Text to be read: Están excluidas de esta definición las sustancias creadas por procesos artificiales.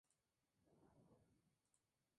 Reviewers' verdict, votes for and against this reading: rejected, 0, 2